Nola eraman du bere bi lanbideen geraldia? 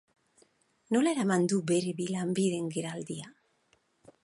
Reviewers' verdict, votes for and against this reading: accepted, 6, 0